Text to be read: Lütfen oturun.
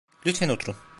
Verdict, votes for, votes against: rejected, 0, 2